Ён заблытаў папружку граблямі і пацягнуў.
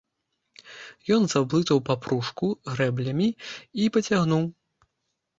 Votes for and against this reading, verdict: 0, 2, rejected